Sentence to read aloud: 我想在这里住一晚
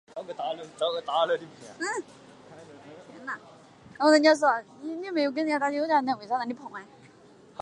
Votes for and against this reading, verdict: 1, 2, rejected